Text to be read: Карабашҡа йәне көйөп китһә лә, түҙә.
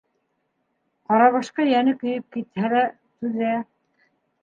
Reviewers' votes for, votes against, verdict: 2, 0, accepted